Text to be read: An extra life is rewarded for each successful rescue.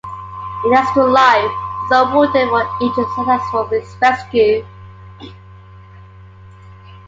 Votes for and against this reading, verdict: 2, 1, accepted